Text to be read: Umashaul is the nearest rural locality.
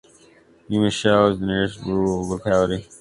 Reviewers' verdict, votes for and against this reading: accepted, 2, 1